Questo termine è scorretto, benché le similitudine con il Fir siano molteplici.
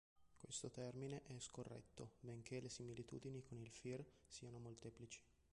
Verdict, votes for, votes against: accepted, 3, 1